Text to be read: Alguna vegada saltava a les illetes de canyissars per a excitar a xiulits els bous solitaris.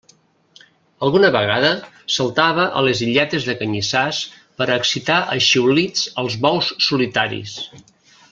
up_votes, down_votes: 2, 0